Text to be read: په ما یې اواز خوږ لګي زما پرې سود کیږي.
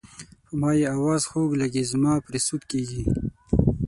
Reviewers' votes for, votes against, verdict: 6, 0, accepted